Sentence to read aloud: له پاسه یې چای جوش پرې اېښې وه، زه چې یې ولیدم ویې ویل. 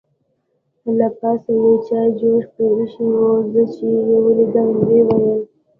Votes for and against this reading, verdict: 0, 2, rejected